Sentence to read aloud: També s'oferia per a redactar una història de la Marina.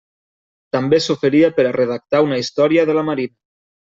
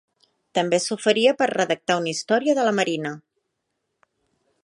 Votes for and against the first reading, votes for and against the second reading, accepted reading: 1, 2, 2, 0, second